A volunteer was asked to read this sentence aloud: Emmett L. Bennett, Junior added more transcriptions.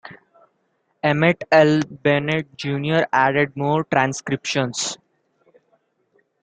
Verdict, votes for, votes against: accepted, 2, 0